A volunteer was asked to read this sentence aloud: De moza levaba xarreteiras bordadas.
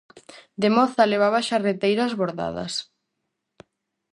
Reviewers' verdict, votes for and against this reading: accepted, 4, 0